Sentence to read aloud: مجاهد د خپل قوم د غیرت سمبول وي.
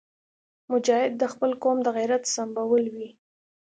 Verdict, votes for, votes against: accepted, 2, 0